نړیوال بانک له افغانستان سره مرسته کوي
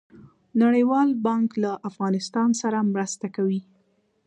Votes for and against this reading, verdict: 1, 2, rejected